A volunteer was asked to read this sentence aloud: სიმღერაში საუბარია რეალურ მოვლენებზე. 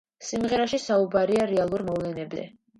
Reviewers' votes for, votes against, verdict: 1, 2, rejected